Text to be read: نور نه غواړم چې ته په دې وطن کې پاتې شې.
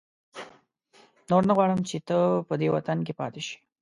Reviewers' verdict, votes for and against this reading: accepted, 2, 0